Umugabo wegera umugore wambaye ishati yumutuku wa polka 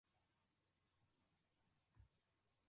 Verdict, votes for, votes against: rejected, 0, 2